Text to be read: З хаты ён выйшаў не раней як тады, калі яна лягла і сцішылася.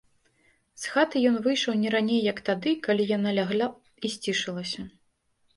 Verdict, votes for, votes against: rejected, 1, 2